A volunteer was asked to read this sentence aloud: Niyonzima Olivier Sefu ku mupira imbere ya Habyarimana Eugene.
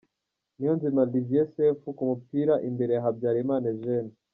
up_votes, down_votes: 3, 0